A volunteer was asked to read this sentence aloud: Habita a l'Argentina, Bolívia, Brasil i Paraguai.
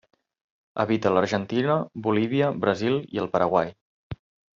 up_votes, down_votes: 0, 2